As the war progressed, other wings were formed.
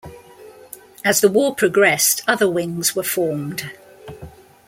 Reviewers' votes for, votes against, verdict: 2, 0, accepted